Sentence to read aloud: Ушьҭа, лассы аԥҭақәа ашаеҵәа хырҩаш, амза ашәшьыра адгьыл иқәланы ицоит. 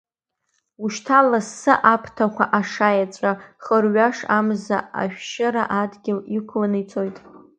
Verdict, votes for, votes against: accepted, 2, 1